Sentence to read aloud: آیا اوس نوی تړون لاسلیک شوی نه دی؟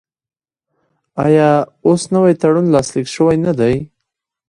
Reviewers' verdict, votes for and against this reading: accepted, 2, 1